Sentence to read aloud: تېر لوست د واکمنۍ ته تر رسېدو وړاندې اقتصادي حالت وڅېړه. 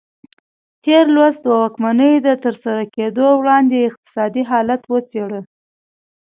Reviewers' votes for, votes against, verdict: 0, 2, rejected